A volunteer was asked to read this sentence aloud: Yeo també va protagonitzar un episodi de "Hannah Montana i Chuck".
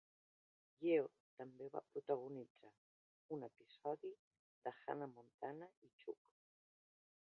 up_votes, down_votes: 0, 2